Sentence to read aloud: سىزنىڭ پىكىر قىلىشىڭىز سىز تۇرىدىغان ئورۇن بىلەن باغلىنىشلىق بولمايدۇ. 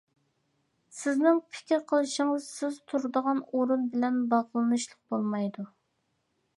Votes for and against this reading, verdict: 2, 0, accepted